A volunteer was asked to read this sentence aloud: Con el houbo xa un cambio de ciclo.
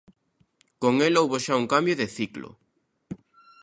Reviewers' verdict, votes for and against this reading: accepted, 2, 0